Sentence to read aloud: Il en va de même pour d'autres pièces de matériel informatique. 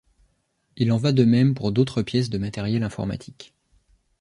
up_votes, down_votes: 2, 0